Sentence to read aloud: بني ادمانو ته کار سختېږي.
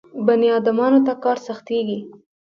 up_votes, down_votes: 0, 2